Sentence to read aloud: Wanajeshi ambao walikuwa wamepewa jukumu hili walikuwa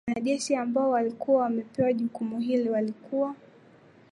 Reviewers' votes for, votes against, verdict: 2, 0, accepted